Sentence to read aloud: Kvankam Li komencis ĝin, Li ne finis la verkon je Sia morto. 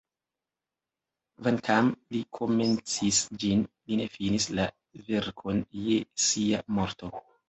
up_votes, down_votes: 2, 1